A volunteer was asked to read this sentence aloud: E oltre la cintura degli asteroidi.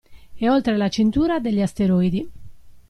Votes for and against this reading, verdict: 2, 0, accepted